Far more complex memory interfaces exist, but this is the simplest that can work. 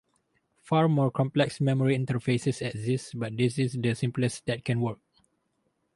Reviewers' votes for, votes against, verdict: 2, 2, rejected